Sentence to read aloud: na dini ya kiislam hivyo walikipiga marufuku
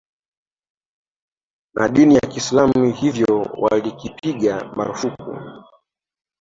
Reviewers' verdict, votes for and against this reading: rejected, 1, 2